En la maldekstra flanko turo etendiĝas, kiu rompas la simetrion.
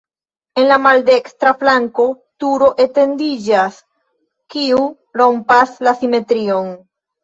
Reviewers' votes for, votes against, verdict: 2, 0, accepted